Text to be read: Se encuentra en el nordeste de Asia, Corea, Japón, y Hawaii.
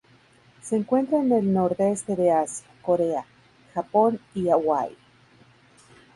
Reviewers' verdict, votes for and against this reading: rejected, 2, 2